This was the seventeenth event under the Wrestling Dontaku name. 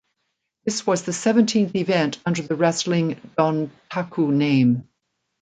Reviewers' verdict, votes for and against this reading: accepted, 2, 1